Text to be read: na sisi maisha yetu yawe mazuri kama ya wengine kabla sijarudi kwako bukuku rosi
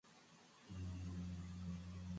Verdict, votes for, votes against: rejected, 0, 2